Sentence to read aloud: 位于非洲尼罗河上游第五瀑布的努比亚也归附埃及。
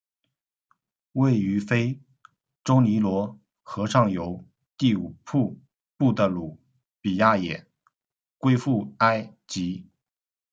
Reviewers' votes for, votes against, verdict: 0, 2, rejected